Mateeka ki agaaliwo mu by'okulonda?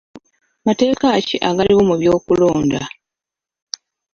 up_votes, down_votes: 2, 1